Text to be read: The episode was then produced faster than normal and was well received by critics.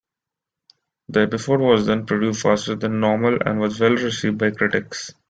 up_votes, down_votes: 2, 1